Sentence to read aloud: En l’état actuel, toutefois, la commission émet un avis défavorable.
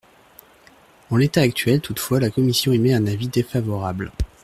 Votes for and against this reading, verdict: 1, 2, rejected